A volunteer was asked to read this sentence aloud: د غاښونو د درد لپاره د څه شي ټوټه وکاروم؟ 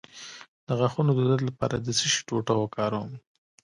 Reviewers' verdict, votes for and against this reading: rejected, 1, 2